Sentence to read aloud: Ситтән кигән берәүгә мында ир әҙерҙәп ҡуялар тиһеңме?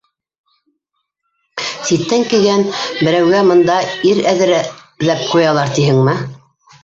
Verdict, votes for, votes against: rejected, 0, 2